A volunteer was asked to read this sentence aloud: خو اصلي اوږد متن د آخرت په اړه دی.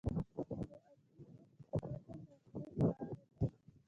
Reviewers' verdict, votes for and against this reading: rejected, 0, 2